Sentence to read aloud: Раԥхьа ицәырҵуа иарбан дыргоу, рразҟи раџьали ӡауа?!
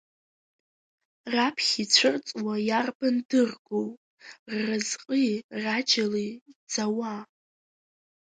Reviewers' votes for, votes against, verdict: 1, 2, rejected